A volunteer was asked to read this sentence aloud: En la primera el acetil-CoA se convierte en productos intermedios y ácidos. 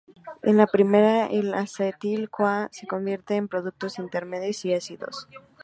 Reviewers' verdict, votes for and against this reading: rejected, 0, 4